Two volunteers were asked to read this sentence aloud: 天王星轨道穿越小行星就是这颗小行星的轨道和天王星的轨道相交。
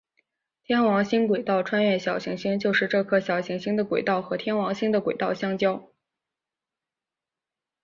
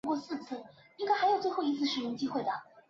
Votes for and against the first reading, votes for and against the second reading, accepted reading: 4, 0, 0, 2, first